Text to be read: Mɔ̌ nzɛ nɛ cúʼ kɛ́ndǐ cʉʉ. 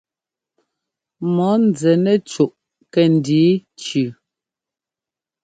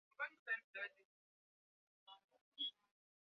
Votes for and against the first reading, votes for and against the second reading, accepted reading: 2, 0, 1, 2, first